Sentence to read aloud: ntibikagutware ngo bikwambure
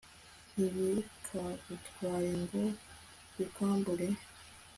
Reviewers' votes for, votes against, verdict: 2, 0, accepted